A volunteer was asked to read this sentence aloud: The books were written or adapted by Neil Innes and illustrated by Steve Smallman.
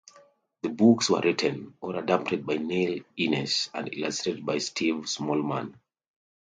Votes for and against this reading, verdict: 2, 0, accepted